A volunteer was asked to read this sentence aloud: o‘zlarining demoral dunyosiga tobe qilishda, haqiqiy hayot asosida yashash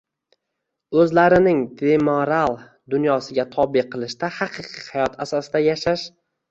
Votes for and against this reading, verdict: 2, 1, accepted